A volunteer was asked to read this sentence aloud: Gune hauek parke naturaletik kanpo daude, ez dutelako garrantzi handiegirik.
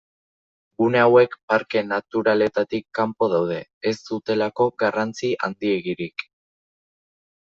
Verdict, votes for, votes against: rejected, 0, 2